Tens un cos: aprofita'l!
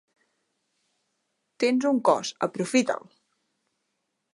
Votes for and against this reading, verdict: 3, 0, accepted